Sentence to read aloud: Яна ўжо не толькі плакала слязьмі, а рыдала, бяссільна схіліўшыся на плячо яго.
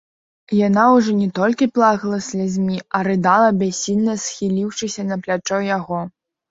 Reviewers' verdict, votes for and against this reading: accepted, 2, 1